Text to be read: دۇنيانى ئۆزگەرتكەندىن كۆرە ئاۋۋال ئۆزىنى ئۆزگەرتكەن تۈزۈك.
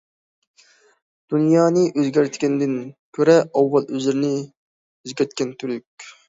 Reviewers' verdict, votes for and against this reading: rejected, 0, 2